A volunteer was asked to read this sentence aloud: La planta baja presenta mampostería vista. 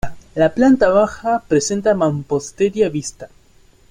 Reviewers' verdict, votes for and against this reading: accepted, 2, 0